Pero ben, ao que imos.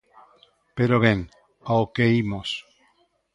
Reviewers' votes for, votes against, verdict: 2, 0, accepted